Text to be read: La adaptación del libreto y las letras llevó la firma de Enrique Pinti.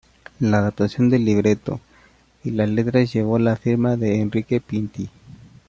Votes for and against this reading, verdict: 2, 0, accepted